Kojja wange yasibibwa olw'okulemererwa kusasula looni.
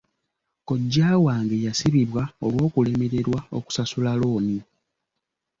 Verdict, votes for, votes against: rejected, 1, 2